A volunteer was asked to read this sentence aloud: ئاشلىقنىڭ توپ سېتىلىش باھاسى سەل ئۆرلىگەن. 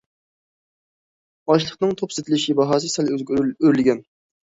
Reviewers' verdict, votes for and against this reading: rejected, 0, 2